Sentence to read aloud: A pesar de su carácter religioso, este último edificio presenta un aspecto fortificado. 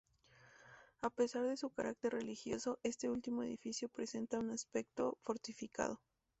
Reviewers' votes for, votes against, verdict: 2, 0, accepted